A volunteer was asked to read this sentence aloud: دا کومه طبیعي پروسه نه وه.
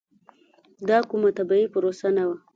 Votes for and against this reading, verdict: 2, 0, accepted